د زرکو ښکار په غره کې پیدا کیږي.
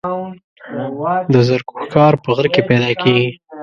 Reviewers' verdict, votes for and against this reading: rejected, 0, 2